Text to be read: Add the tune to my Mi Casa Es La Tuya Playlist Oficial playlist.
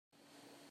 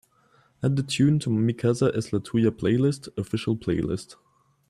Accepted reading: second